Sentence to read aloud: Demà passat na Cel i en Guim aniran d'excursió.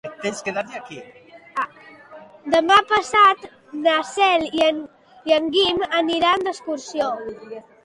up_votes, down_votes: 0, 2